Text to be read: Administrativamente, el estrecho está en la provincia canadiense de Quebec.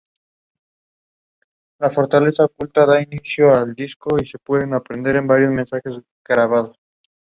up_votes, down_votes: 0, 2